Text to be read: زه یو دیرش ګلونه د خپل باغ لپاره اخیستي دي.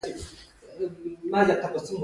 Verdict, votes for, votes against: rejected, 0, 2